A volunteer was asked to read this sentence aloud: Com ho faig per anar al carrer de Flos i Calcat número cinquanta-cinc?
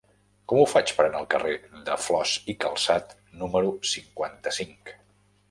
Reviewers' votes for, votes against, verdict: 1, 2, rejected